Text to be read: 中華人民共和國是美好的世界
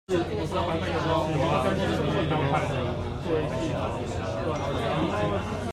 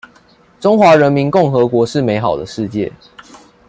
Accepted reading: second